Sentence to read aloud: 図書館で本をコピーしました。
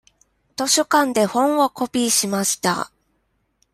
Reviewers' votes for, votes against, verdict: 2, 0, accepted